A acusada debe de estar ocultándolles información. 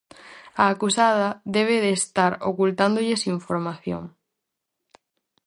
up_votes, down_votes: 4, 0